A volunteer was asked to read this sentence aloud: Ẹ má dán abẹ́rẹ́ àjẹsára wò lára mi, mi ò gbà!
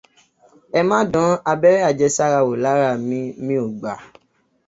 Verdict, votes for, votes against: accepted, 2, 0